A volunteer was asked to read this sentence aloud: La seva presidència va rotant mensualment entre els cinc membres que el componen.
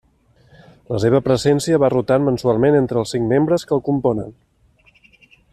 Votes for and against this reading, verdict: 0, 2, rejected